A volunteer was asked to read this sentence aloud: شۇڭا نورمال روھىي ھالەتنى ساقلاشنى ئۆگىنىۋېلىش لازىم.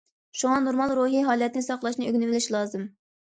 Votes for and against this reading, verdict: 2, 0, accepted